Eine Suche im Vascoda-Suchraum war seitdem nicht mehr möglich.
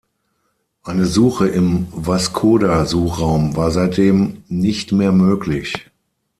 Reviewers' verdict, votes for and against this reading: accepted, 6, 0